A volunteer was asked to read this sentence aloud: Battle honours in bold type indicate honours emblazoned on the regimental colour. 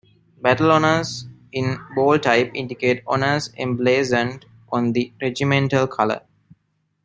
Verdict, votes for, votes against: accepted, 2, 0